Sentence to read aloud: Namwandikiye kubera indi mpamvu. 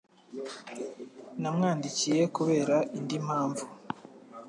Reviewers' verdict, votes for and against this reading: accepted, 3, 0